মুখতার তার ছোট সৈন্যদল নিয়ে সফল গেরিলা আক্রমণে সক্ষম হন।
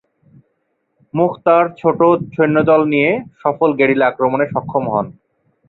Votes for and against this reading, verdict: 2, 2, rejected